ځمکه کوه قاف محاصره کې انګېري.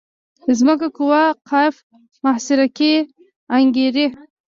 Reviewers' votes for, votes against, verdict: 1, 2, rejected